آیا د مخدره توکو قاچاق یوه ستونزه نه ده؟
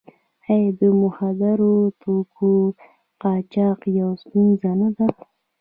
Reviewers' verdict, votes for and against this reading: rejected, 0, 2